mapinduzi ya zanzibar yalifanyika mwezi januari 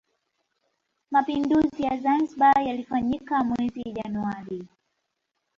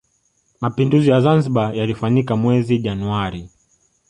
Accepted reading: second